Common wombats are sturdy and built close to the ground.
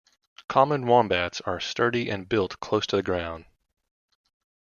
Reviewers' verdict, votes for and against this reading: accepted, 2, 0